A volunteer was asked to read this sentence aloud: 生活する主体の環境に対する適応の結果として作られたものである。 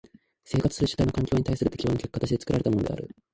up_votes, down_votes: 1, 2